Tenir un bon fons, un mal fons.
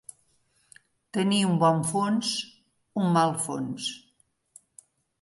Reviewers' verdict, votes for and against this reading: accepted, 3, 0